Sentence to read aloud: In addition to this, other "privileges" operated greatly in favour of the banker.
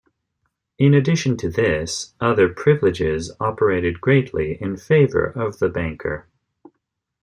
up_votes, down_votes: 2, 0